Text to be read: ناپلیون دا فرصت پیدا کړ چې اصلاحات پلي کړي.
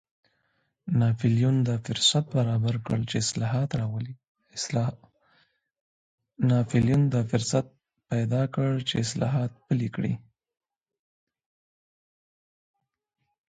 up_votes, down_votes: 1, 2